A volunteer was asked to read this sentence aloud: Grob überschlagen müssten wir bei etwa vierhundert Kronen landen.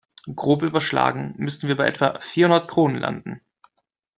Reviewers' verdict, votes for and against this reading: accepted, 2, 0